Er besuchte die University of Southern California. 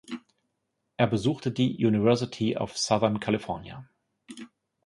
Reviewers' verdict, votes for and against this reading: accepted, 2, 0